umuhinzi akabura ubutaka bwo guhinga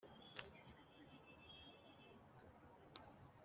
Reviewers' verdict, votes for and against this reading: rejected, 0, 2